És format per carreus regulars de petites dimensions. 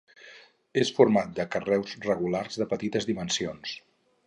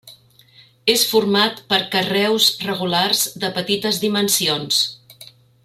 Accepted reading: second